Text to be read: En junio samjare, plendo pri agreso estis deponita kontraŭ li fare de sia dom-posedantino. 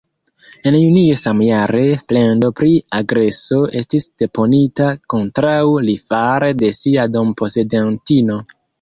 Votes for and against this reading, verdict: 2, 0, accepted